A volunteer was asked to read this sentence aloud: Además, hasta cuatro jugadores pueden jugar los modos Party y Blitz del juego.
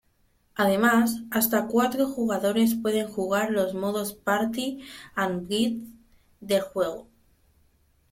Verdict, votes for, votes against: rejected, 1, 2